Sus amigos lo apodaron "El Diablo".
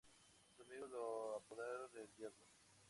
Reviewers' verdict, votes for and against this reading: accepted, 2, 0